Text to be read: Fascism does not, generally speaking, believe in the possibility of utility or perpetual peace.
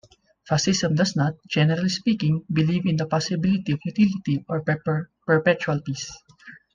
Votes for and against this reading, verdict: 0, 2, rejected